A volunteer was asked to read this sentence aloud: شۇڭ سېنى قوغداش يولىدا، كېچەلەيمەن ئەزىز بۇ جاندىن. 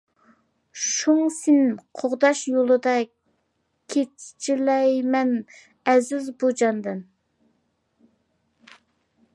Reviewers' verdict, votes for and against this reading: rejected, 0, 2